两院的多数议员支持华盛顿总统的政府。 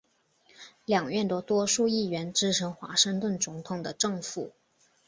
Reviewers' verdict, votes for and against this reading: accepted, 8, 0